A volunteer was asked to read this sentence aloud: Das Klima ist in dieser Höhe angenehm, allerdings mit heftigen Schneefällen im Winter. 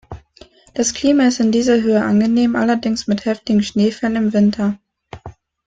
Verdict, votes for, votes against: accepted, 2, 0